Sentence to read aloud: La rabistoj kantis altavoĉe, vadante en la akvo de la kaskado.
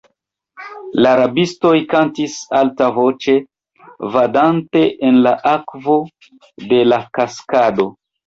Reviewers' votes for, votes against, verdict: 2, 0, accepted